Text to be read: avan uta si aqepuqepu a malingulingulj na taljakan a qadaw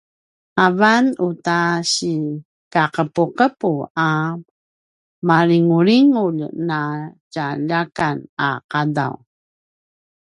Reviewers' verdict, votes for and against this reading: rejected, 0, 2